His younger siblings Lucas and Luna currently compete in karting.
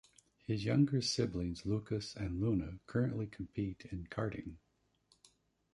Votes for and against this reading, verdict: 0, 2, rejected